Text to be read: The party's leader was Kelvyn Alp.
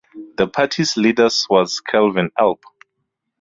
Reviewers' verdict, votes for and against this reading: rejected, 0, 4